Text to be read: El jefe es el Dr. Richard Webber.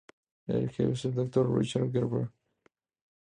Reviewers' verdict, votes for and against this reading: accepted, 2, 0